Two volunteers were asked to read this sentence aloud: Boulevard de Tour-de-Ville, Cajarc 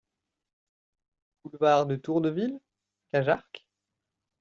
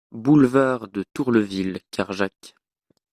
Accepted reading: first